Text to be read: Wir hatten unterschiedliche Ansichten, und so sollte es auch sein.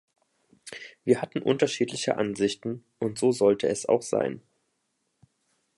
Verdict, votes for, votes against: accepted, 2, 0